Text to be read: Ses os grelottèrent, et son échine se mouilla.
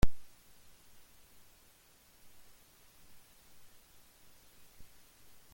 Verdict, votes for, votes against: accepted, 2, 0